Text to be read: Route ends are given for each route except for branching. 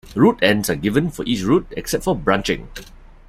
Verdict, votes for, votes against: accepted, 2, 0